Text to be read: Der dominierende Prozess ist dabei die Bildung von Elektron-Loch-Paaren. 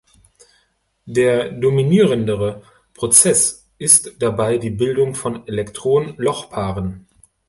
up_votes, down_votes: 2, 0